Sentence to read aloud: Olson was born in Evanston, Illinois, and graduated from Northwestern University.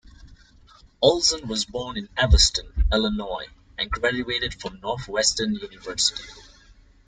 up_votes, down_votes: 2, 0